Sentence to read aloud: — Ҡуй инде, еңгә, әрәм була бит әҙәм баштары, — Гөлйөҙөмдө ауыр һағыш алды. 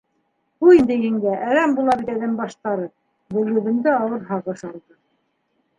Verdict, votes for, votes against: accepted, 2, 0